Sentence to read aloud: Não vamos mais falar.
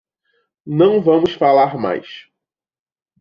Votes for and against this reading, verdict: 0, 2, rejected